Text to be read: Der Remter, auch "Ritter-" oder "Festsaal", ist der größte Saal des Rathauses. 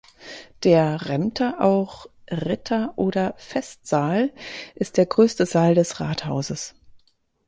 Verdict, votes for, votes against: accepted, 4, 0